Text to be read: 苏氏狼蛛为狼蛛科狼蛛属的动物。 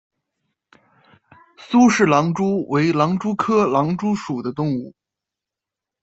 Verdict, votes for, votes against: accepted, 2, 0